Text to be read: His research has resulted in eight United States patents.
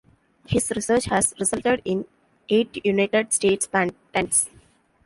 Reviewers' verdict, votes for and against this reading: rejected, 0, 2